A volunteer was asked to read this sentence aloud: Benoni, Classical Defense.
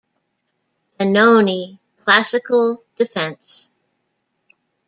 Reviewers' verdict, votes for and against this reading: rejected, 1, 2